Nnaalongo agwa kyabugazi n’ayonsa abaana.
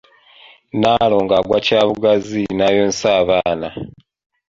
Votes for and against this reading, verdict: 2, 1, accepted